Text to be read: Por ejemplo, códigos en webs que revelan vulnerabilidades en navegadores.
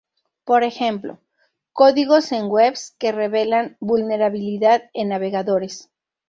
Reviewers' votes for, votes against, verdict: 0, 2, rejected